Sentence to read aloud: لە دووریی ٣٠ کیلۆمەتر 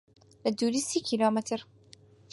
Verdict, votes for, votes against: rejected, 0, 2